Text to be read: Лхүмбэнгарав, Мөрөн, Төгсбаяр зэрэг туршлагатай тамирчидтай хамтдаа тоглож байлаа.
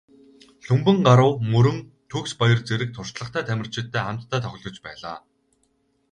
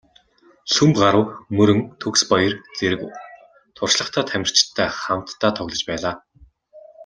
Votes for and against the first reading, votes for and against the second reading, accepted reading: 4, 0, 0, 2, first